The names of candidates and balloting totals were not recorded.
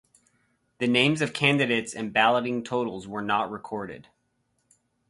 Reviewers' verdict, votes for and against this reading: accepted, 4, 0